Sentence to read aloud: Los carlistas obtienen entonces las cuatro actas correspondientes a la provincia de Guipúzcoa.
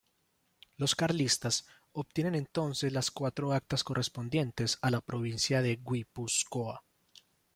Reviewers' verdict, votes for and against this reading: rejected, 0, 2